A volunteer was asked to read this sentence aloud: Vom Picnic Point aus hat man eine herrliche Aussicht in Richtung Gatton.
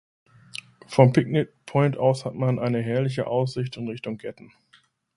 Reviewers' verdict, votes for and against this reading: accepted, 2, 0